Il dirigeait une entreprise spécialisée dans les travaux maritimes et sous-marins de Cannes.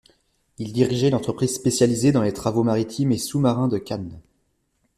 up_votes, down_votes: 0, 2